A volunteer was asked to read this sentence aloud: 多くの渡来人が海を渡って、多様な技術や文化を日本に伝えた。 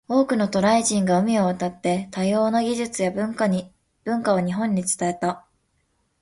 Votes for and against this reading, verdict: 0, 2, rejected